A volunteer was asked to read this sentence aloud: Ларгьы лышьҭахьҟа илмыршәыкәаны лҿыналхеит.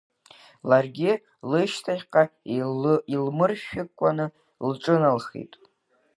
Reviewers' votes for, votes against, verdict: 2, 1, accepted